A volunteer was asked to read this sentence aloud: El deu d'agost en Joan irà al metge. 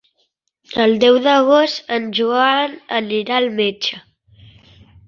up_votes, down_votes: 0, 2